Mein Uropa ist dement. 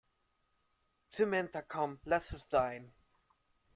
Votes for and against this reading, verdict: 0, 3, rejected